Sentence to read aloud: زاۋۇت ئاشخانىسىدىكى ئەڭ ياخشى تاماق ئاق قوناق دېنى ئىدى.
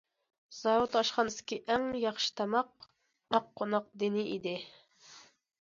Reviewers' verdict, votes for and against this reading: accepted, 2, 0